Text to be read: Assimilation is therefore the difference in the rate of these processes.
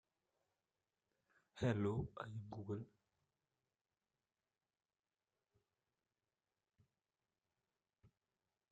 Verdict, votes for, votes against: rejected, 0, 2